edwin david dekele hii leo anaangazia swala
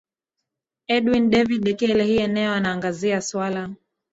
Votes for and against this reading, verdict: 1, 2, rejected